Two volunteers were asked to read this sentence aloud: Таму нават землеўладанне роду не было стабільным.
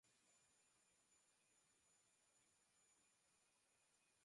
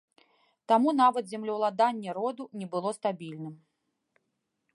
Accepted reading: second